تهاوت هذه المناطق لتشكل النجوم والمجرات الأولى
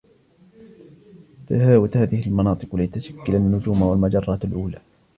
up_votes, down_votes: 1, 2